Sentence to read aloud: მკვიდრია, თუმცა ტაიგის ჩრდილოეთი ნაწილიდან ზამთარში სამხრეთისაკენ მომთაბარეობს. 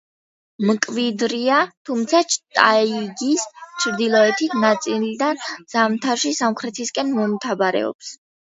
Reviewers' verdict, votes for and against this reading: rejected, 0, 2